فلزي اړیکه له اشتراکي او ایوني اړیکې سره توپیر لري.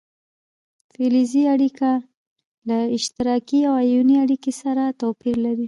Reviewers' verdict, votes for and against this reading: rejected, 1, 2